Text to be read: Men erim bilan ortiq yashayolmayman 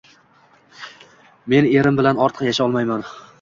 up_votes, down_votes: 2, 0